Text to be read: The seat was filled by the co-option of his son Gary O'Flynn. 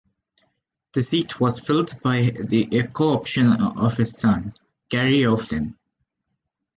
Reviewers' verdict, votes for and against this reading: rejected, 1, 2